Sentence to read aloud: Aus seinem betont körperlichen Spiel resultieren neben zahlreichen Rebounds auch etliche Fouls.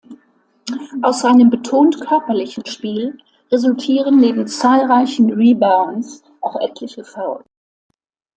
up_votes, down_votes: 1, 2